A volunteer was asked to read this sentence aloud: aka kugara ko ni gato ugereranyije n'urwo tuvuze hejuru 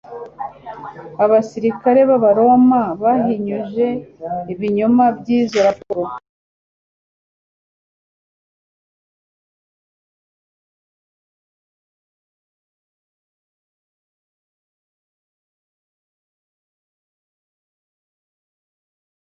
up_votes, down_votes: 1, 2